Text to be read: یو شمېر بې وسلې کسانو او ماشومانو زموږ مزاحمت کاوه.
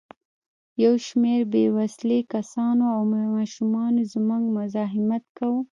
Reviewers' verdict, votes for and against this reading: rejected, 0, 2